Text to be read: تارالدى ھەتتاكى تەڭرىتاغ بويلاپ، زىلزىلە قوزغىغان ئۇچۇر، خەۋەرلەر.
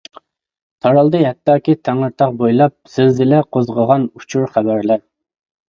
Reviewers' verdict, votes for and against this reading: accepted, 2, 0